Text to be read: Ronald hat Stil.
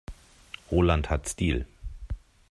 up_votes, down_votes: 0, 3